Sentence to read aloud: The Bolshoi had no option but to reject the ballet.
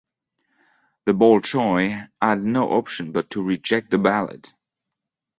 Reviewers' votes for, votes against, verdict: 2, 0, accepted